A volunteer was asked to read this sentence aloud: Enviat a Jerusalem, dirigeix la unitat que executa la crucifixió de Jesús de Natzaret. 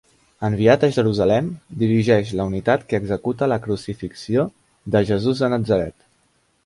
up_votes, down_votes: 2, 1